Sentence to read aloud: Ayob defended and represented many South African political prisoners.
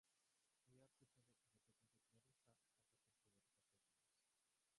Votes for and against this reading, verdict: 0, 4, rejected